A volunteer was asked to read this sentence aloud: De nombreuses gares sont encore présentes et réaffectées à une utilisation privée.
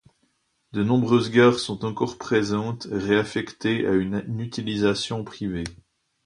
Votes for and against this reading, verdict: 0, 2, rejected